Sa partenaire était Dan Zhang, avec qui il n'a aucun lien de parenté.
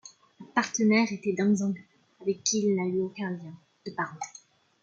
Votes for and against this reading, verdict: 1, 2, rejected